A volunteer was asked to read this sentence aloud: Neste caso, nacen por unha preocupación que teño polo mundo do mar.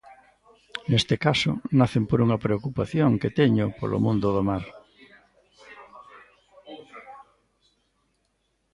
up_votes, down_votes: 1, 2